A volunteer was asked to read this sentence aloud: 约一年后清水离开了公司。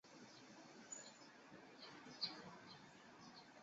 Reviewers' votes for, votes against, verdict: 0, 2, rejected